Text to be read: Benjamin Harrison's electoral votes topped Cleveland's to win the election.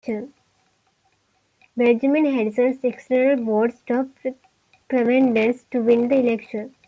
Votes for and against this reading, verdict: 1, 2, rejected